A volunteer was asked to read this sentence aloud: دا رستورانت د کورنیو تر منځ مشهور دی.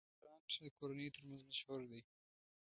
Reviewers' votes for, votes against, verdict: 1, 2, rejected